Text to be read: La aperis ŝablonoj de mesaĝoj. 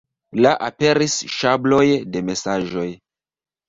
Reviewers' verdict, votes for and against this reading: rejected, 0, 2